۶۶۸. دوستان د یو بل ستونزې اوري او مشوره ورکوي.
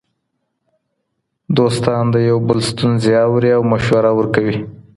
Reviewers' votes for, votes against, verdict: 0, 2, rejected